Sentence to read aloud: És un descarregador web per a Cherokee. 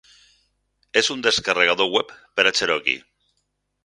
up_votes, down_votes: 4, 0